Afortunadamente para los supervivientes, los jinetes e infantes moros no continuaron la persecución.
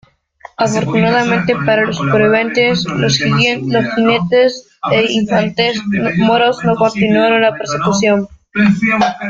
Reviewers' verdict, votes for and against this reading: rejected, 0, 2